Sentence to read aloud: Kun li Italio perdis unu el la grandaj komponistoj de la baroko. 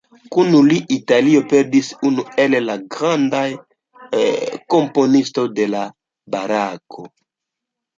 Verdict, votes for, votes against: rejected, 0, 2